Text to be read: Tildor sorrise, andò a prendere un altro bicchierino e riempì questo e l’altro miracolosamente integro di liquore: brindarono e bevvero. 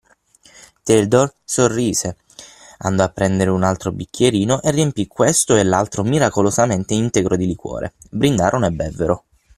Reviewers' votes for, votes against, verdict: 6, 0, accepted